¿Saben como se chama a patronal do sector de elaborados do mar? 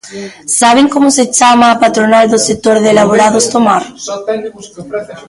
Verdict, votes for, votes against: rejected, 2, 3